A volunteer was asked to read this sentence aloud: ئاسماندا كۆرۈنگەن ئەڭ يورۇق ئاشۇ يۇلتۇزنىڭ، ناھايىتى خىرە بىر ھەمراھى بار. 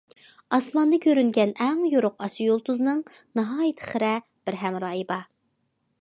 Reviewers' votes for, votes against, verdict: 2, 0, accepted